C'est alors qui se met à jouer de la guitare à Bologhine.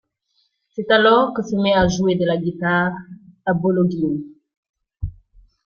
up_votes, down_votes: 2, 0